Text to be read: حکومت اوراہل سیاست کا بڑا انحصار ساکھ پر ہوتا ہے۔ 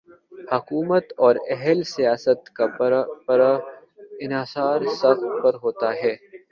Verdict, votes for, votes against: rejected, 1, 2